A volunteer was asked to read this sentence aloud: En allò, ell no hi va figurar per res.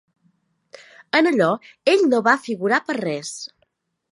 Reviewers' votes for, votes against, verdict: 1, 2, rejected